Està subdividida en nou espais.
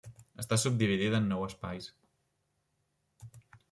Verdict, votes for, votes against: rejected, 1, 2